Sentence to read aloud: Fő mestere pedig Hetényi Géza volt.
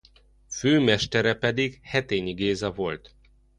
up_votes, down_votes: 2, 0